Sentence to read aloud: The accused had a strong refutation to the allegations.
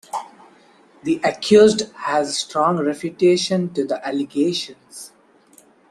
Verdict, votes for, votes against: rejected, 0, 2